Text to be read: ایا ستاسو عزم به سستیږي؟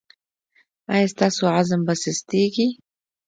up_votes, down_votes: 2, 1